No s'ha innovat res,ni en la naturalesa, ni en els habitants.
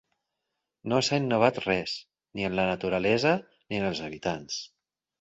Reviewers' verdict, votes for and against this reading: accepted, 6, 2